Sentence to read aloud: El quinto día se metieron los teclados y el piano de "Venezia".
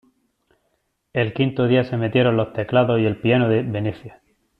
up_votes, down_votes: 2, 1